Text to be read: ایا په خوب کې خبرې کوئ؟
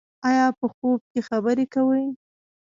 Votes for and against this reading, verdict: 2, 1, accepted